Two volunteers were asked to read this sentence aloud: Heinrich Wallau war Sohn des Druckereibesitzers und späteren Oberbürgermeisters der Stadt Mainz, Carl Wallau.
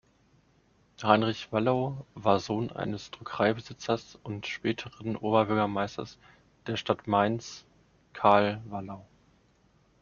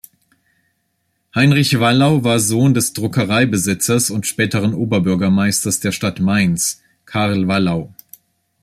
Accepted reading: second